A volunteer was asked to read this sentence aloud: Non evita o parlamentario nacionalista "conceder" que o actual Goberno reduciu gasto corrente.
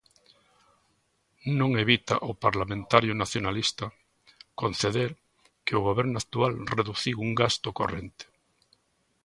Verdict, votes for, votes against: rejected, 0, 2